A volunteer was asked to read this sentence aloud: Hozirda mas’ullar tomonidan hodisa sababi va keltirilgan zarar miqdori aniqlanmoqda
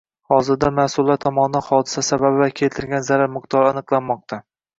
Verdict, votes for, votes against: rejected, 1, 2